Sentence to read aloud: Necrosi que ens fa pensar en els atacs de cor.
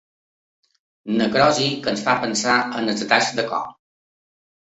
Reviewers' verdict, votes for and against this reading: rejected, 1, 2